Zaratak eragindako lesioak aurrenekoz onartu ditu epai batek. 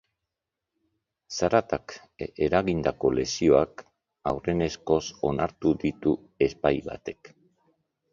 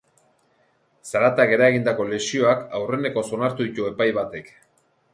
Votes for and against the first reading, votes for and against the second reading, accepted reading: 1, 2, 3, 1, second